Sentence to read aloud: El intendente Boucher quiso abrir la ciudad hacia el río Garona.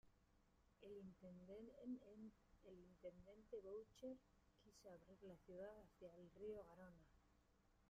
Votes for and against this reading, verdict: 0, 2, rejected